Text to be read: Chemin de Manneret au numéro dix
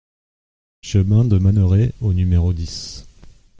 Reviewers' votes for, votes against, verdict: 2, 0, accepted